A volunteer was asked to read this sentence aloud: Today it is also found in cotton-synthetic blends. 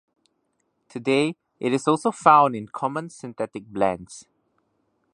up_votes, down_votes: 0, 2